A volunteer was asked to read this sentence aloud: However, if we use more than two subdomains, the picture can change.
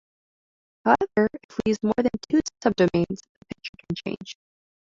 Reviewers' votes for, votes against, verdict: 0, 2, rejected